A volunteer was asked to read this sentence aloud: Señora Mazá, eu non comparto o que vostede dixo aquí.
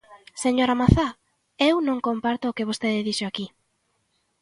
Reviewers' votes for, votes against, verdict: 2, 0, accepted